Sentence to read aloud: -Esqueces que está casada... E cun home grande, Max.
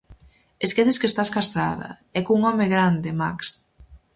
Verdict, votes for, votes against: rejected, 0, 4